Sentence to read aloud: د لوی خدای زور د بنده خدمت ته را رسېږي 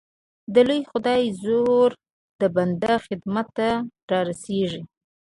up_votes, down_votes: 2, 0